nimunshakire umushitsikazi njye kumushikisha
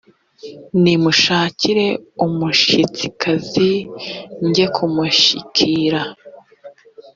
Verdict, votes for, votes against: rejected, 1, 2